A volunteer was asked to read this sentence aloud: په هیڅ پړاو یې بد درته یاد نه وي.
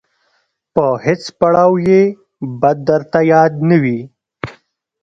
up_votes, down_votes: 2, 0